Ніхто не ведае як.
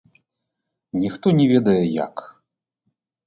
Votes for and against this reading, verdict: 0, 2, rejected